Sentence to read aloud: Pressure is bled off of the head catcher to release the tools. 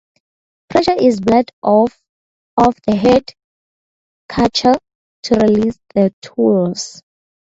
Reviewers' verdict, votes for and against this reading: rejected, 0, 2